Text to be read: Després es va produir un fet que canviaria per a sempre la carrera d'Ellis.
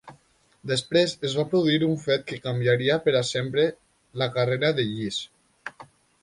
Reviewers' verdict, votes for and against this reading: accepted, 2, 0